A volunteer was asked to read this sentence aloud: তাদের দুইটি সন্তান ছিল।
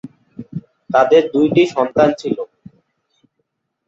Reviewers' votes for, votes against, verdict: 2, 0, accepted